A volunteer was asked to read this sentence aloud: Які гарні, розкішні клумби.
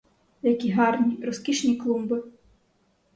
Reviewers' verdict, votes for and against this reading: accepted, 2, 0